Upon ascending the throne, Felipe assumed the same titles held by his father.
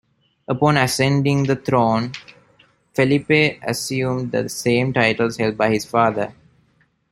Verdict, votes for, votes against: accepted, 2, 0